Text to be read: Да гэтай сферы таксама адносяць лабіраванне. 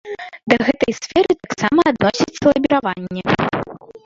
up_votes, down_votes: 0, 2